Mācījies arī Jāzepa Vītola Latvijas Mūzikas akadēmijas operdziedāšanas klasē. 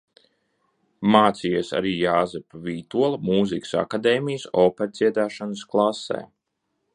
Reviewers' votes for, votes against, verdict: 0, 3, rejected